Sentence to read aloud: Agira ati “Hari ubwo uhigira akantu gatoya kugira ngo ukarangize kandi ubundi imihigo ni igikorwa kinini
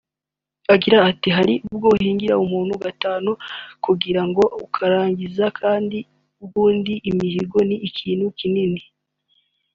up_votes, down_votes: 1, 2